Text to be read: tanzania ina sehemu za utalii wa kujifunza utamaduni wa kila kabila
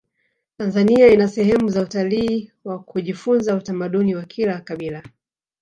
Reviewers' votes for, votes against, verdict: 1, 2, rejected